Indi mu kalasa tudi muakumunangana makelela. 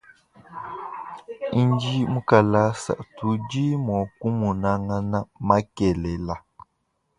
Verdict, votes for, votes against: rejected, 1, 2